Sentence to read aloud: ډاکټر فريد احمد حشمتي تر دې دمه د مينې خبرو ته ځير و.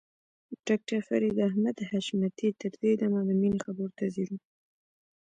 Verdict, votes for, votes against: rejected, 1, 2